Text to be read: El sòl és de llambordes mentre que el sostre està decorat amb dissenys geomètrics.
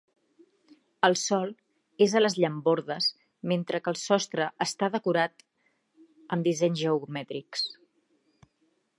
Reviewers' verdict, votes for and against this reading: rejected, 1, 3